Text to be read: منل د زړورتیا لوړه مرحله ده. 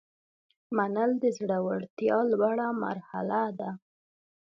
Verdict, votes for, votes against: accepted, 2, 0